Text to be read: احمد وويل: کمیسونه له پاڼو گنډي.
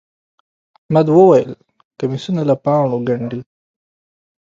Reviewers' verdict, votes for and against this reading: accepted, 2, 0